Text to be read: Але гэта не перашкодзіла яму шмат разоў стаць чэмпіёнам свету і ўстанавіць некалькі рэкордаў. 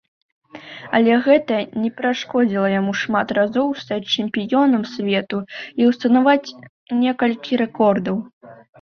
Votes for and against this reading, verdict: 0, 2, rejected